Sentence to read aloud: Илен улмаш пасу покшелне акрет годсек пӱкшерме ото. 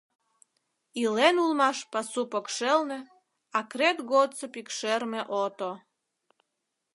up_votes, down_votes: 1, 2